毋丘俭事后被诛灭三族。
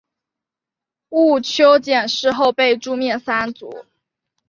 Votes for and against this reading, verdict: 3, 0, accepted